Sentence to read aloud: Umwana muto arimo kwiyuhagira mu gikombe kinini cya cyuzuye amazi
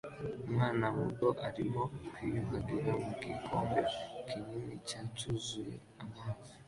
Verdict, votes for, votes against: accepted, 2, 1